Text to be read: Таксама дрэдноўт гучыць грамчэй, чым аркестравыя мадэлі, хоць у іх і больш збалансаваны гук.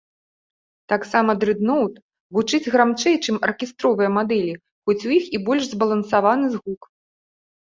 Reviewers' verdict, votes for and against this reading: rejected, 0, 2